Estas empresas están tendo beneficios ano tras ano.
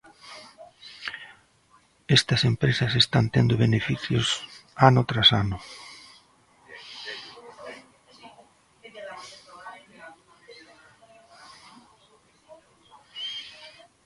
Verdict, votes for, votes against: rejected, 1, 2